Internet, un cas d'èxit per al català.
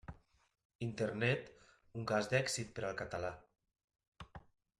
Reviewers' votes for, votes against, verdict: 3, 0, accepted